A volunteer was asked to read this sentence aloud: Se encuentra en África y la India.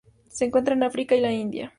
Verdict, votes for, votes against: accepted, 2, 0